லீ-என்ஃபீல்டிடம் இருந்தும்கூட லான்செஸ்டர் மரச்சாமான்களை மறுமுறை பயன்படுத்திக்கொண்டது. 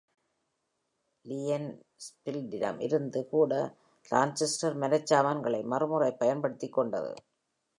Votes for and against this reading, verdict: 1, 2, rejected